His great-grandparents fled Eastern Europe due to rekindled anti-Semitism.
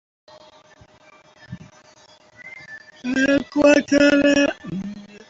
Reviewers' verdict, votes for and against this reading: rejected, 0, 2